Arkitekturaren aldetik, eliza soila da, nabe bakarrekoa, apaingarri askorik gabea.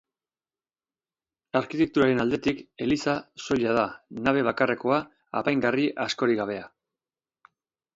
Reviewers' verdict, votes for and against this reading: accepted, 4, 0